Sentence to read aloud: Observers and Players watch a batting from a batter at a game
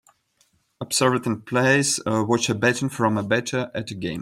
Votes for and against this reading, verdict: 0, 2, rejected